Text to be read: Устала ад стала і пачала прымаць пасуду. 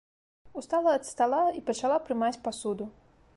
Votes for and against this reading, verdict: 2, 0, accepted